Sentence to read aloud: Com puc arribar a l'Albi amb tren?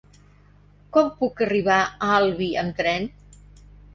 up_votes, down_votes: 0, 2